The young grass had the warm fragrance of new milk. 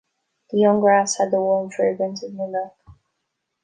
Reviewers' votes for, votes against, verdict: 2, 0, accepted